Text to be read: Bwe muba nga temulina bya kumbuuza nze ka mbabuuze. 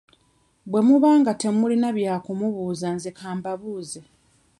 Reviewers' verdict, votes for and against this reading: rejected, 1, 2